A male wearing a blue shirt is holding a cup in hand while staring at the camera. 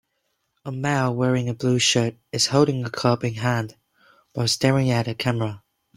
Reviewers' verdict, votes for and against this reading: rejected, 1, 2